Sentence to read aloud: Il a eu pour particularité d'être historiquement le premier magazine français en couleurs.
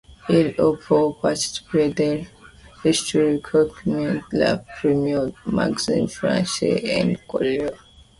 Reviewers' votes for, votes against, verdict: 2, 1, accepted